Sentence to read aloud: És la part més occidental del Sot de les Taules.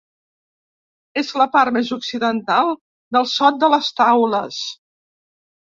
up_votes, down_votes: 2, 0